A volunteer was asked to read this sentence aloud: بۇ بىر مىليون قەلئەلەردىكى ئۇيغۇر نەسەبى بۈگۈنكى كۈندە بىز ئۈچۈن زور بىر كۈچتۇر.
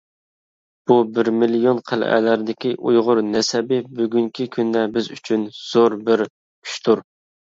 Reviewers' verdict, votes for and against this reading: accepted, 2, 0